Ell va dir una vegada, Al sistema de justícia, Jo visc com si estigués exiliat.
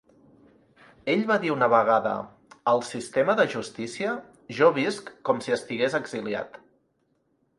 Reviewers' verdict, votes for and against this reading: accepted, 2, 0